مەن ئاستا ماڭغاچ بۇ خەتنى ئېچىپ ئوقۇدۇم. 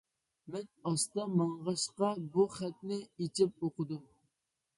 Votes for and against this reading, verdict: 0, 2, rejected